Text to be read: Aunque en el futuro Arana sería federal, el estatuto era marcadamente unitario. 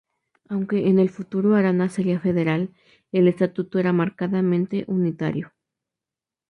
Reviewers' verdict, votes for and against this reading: accepted, 4, 0